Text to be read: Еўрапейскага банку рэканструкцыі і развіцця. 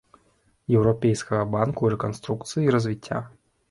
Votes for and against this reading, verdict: 2, 0, accepted